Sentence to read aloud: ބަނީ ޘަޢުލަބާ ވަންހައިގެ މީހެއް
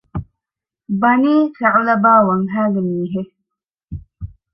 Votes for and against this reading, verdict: 0, 2, rejected